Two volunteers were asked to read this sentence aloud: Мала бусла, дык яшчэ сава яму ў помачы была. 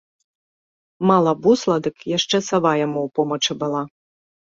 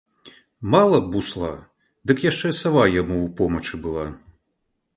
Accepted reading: second